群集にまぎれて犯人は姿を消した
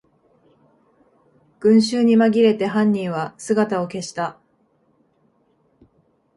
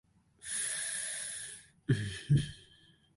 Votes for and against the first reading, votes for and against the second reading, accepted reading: 2, 0, 0, 2, first